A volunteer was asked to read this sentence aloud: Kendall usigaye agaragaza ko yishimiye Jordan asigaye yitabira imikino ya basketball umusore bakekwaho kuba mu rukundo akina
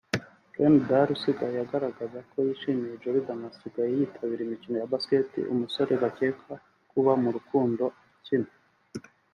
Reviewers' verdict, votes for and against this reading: rejected, 2, 4